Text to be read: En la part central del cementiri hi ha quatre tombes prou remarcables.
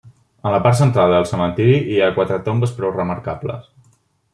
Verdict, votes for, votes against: rejected, 1, 2